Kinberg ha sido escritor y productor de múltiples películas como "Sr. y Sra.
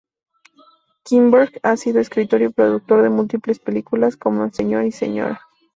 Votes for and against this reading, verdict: 2, 0, accepted